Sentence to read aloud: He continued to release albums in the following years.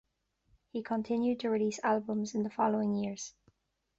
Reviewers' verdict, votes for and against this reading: accepted, 2, 0